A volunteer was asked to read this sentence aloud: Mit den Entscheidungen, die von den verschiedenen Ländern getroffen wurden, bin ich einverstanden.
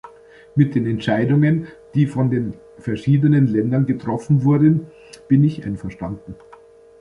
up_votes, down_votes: 2, 0